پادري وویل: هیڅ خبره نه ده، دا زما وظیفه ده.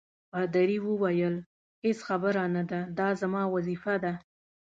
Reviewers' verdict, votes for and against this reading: accepted, 2, 0